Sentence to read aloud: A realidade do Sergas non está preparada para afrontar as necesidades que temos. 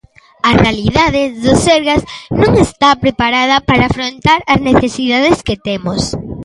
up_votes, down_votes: 2, 0